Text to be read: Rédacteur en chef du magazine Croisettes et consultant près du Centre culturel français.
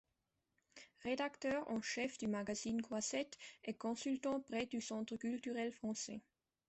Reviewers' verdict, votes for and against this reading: accepted, 2, 0